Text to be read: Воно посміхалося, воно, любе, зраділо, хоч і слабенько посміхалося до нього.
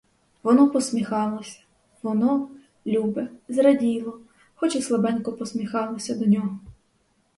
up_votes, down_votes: 2, 2